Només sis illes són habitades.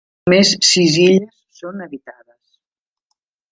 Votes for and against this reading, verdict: 0, 2, rejected